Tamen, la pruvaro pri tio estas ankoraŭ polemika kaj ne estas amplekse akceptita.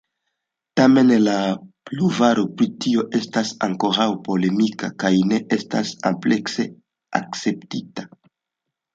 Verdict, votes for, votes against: rejected, 1, 2